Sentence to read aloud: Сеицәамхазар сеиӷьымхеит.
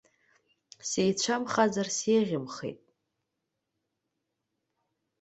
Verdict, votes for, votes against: accepted, 2, 0